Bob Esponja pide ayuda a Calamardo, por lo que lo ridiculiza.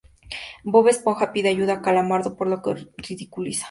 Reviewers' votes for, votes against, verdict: 2, 0, accepted